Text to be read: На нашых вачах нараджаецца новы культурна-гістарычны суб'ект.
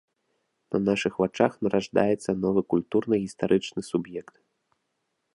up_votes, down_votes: 0, 2